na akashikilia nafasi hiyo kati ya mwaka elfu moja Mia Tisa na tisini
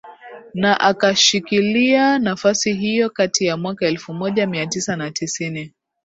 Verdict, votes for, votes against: accepted, 10, 1